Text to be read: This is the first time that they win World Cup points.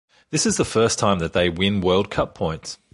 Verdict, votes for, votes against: accepted, 2, 0